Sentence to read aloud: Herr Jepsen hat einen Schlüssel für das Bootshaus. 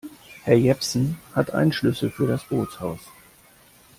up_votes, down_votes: 2, 0